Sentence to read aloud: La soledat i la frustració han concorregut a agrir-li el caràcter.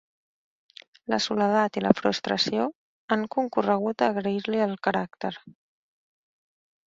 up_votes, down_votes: 1, 2